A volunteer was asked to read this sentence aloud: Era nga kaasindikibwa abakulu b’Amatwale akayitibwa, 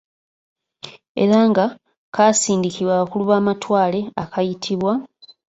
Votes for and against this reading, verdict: 2, 1, accepted